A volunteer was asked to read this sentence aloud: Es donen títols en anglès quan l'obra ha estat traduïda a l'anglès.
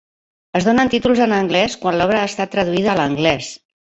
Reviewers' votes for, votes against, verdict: 2, 0, accepted